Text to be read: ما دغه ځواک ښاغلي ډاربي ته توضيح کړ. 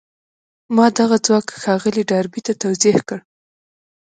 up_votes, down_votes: 3, 0